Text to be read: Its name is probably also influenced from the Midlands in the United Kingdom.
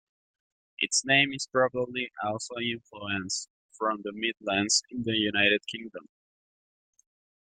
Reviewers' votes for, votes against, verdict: 2, 0, accepted